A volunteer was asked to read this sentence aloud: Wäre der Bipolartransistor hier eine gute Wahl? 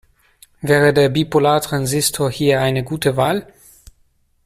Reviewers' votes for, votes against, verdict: 2, 0, accepted